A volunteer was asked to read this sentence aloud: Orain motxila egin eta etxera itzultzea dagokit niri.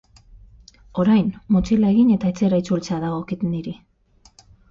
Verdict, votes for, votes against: rejected, 3, 3